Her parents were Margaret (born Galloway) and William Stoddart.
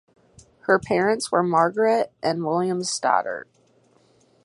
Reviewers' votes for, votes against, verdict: 0, 4, rejected